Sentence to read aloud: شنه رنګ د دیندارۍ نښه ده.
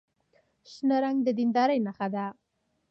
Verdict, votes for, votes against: rejected, 1, 2